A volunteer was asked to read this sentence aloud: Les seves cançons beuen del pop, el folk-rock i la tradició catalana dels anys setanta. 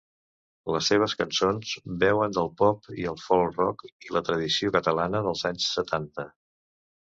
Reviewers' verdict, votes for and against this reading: rejected, 1, 2